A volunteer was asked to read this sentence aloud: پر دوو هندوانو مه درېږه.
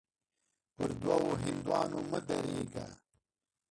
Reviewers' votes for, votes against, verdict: 1, 2, rejected